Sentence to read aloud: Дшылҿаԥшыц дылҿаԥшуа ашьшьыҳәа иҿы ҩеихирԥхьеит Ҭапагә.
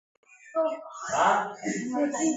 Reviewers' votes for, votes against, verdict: 0, 2, rejected